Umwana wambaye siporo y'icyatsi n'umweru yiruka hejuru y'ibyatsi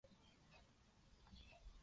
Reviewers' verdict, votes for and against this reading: rejected, 0, 2